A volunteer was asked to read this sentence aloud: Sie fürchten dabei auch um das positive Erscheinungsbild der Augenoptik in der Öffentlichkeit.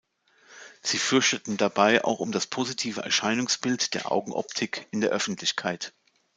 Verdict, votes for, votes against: rejected, 0, 2